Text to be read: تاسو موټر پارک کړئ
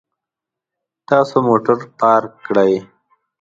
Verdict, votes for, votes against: accepted, 2, 0